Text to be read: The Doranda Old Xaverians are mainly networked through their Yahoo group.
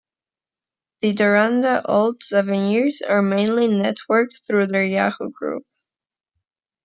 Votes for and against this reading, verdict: 0, 2, rejected